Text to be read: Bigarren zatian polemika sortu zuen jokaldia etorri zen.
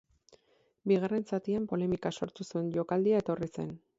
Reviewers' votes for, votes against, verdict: 0, 4, rejected